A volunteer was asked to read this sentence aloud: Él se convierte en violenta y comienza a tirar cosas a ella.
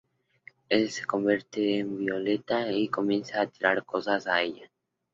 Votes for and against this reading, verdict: 0, 2, rejected